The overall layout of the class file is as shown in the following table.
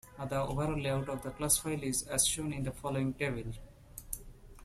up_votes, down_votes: 0, 2